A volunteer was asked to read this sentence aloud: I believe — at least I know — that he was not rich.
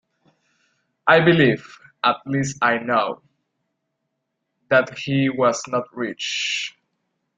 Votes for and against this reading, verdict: 2, 0, accepted